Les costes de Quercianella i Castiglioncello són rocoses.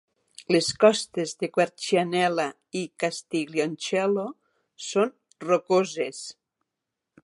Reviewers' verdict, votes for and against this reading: accepted, 6, 2